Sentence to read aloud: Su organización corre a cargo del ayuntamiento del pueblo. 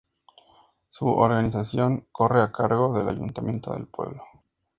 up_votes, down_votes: 2, 0